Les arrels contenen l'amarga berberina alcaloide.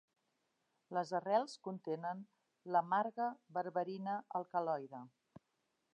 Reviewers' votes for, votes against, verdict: 2, 0, accepted